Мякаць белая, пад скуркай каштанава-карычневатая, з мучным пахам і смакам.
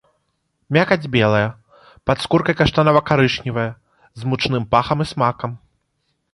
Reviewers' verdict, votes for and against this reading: rejected, 1, 3